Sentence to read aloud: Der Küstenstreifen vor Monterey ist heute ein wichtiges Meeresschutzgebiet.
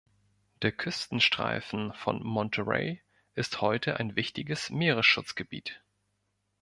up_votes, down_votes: 1, 2